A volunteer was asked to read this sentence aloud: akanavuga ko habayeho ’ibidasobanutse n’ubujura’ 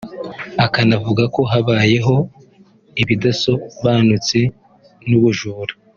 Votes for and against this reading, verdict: 2, 1, accepted